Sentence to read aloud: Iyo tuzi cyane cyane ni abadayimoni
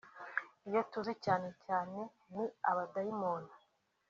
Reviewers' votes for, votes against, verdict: 2, 0, accepted